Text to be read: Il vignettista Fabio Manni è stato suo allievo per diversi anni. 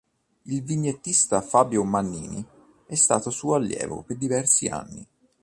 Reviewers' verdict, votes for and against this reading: rejected, 1, 2